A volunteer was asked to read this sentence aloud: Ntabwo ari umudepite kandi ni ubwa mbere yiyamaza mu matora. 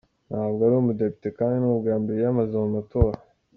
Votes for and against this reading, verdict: 2, 0, accepted